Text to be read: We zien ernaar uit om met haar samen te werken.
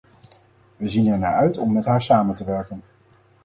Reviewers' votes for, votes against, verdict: 4, 0, accepted